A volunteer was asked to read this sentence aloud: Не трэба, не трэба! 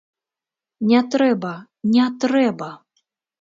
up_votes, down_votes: 2, 0